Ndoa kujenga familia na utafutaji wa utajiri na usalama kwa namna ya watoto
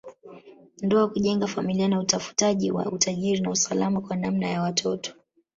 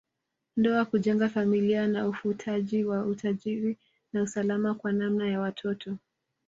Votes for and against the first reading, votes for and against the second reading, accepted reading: 5, 0, 1, 2, first